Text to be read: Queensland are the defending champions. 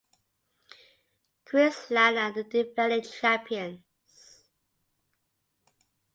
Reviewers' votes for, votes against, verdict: 2, 0, accepted